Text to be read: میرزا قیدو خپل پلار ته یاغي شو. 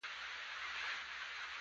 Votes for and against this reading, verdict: 0, 2, rejected